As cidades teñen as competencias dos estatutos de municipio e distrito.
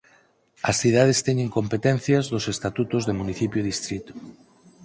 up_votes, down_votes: 2, 4